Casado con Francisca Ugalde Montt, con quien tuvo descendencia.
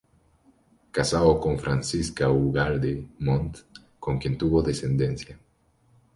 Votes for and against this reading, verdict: 2, 0, accepted